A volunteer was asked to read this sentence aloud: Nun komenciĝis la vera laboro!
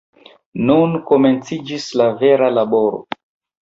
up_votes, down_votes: 2, 1